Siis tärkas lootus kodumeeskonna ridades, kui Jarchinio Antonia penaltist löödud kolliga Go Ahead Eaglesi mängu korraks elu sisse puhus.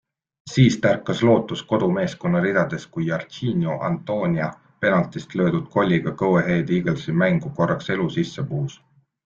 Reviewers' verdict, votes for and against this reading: accepted, 2, 0